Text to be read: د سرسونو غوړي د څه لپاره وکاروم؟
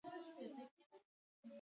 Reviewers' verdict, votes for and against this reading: rejected, 0, 2